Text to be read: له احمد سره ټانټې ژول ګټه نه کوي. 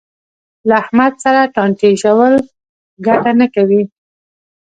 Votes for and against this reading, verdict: 2, 1, accepted